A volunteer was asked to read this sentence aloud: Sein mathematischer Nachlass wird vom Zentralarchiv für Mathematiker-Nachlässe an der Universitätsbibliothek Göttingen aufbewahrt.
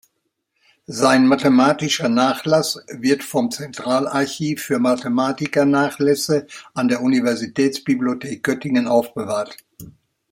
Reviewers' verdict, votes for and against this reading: accepted, 3, 0